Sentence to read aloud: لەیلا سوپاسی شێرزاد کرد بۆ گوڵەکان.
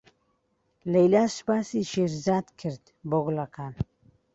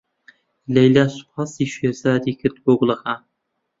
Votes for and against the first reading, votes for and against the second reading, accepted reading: 2, 0, 0, 2, first